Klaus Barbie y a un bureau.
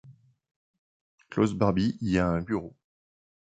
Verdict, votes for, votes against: accepted, 2, 0